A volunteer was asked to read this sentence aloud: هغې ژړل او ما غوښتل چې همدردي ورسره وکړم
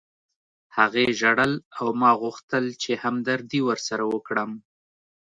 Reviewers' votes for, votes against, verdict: 2, 0, accepted